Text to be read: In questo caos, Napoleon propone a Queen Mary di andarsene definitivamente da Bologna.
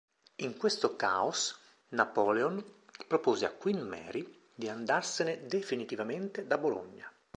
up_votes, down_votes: 1, 2